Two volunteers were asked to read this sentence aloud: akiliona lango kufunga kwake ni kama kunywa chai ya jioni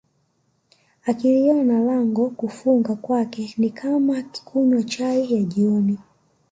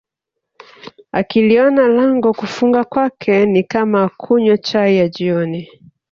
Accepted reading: second